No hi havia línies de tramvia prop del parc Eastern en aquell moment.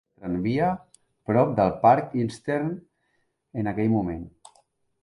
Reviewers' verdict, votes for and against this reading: rejected, 0, 2